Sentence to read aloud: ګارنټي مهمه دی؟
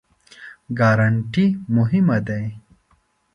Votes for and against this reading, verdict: 2, 0, accepted